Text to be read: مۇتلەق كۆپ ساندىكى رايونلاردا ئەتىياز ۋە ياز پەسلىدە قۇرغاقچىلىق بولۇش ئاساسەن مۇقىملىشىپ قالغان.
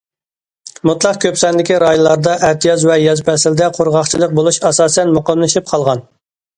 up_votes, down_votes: 2, 0